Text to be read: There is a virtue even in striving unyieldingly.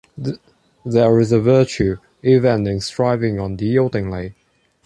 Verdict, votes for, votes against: accepted, 2, 1